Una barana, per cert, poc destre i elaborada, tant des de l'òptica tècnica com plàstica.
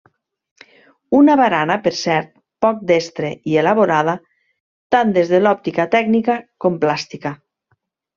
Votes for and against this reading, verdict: 3, 0, accepted